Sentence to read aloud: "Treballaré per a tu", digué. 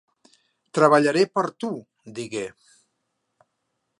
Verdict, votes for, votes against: rejected, 1, 2